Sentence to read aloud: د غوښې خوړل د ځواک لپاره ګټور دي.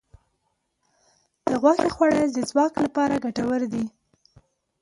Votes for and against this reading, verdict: 2, 0, accepted